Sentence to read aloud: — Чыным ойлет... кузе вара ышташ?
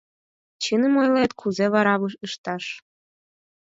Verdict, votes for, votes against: accepted, 4, 0